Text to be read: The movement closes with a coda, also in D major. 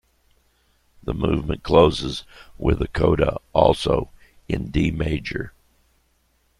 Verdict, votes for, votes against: accepted, 2, 0